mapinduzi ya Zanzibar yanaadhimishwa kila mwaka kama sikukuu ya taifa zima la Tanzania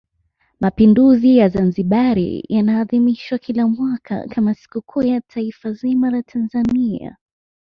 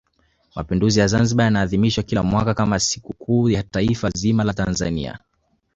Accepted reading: first